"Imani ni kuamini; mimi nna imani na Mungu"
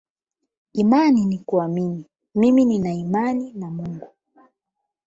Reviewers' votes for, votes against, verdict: 12, 4, accepted